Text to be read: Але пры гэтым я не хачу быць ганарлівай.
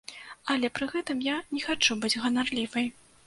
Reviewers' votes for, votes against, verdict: 2, 0, accepted